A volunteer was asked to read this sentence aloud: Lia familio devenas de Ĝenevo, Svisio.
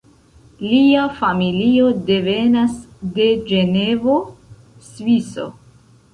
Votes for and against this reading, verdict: 0, 2, rejected